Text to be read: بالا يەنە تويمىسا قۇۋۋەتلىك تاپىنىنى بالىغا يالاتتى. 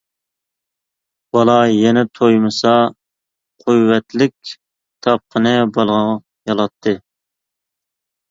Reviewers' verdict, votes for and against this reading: rejected, 0, 2